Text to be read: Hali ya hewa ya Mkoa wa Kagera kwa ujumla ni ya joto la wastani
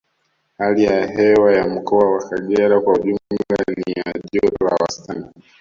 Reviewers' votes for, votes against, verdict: 0, 2, rejected